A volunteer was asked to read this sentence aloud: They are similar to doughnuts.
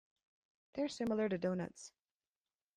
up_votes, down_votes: 0, 2